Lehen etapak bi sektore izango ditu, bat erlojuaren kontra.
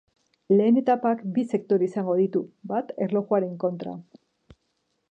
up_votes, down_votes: 3, 1